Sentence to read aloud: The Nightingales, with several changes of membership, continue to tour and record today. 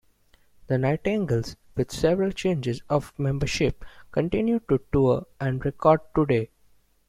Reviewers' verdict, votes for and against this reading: rejected, 0, 2